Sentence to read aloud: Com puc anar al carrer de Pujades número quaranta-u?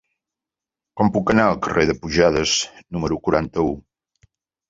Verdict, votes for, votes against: accepted, 3, 0